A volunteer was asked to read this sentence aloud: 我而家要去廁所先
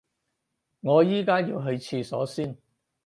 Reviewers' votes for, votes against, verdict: 4, 0, accepted